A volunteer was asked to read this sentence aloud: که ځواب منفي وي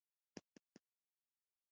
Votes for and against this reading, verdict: 1, 2, rejected